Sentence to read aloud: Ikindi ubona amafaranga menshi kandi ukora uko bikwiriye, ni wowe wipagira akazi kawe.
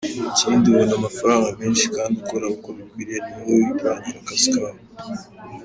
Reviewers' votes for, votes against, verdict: 1, 2, rejected